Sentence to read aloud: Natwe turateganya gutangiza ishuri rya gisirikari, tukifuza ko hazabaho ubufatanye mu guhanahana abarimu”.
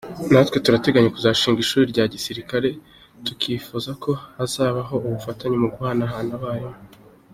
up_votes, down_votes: 2, 1